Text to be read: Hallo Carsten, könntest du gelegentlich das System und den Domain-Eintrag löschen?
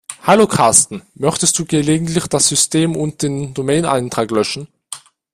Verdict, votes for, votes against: rejected, 0, 2